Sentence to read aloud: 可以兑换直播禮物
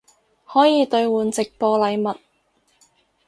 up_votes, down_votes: 4, 0